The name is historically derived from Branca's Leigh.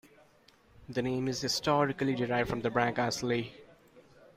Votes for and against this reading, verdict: 2, 1, accepted